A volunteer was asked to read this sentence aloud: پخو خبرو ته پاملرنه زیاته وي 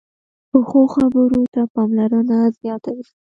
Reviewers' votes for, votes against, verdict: 2, 0, accepted